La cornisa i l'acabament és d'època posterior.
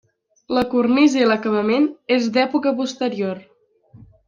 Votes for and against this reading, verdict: 3, 0, accepted